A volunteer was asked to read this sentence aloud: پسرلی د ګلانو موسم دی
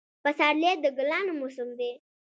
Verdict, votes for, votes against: accepted, 2, 0